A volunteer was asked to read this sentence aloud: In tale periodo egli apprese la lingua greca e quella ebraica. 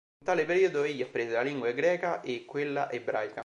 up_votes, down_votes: 0, 2